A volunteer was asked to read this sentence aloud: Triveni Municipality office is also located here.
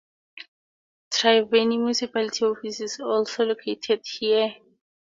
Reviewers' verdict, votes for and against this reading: accepted, 2, 0